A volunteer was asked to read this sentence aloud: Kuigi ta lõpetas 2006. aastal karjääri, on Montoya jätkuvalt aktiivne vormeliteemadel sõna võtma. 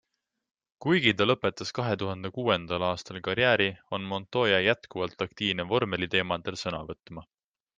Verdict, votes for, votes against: rejected, 0, 2